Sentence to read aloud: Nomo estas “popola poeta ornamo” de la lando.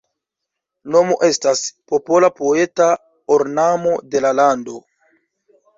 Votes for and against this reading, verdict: 1, 2, rejected